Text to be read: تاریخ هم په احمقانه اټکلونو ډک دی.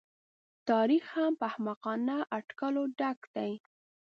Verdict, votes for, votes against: rejected, 1, 2